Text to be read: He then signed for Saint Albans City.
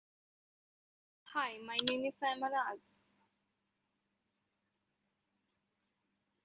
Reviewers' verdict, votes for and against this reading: rejected, 0, 2